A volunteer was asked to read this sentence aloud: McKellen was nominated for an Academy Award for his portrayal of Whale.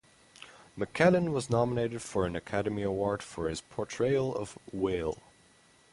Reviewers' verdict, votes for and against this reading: accepted, 4, 0